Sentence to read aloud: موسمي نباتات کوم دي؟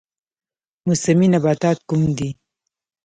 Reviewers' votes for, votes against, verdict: 0, 2, rejected